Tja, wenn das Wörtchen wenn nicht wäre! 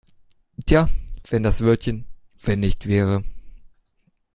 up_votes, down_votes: 1, 2